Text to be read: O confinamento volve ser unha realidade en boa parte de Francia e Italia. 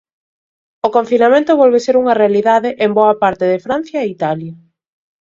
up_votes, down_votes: 2, 0